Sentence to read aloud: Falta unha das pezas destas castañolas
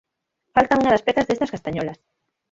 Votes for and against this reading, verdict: 0, 6, rejected